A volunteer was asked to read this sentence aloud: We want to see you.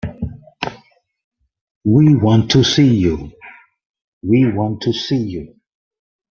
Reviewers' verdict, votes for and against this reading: rejected, 0, 2